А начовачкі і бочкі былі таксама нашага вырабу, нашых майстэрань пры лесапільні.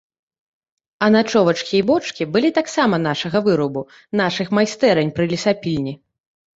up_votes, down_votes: 1, 2